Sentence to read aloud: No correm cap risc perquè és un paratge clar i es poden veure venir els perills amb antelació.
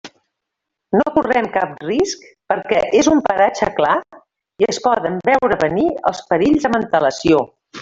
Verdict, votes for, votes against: rejected, 0, 2